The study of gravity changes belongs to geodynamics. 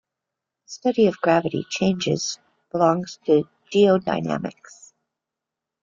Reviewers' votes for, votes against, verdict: 0, 2, rejected